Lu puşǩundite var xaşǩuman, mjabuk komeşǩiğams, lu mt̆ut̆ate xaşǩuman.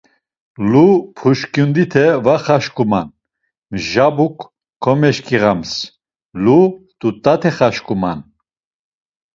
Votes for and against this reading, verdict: 2, 0, accepted